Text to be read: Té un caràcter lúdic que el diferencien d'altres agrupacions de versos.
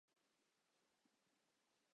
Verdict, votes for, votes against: rejected, 1, 2